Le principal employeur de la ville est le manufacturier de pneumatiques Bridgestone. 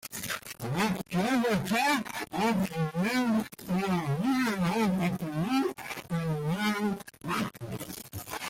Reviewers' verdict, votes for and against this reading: rejected, 0, 2